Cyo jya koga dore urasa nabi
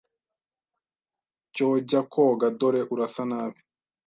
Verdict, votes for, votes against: accepted, 2, 0